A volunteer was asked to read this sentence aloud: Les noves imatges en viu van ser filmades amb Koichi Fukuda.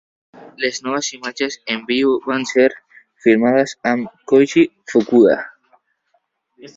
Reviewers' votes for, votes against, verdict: 2, 1, accepted